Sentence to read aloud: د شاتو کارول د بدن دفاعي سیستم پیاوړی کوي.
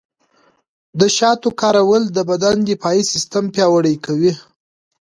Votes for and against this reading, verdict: 2, 0, accepted